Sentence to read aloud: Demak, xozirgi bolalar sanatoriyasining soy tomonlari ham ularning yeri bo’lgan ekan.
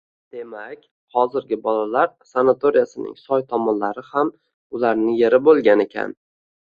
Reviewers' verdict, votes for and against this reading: accepted, 2, 0